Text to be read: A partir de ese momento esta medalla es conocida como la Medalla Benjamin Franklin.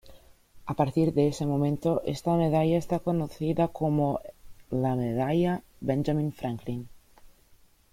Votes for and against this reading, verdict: 1, 2, rejected